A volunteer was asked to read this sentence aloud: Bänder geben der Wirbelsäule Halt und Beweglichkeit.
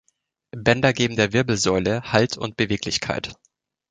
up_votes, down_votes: 2, 0